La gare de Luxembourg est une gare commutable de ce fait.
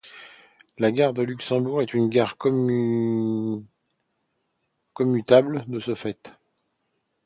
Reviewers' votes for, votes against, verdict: 0, 2, rejected